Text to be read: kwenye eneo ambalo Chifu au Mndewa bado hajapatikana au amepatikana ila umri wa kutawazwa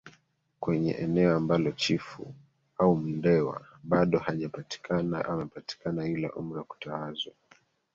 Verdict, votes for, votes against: rejected, 1, 2